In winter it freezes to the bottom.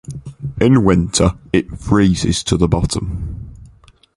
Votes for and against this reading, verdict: 4, 0, accepted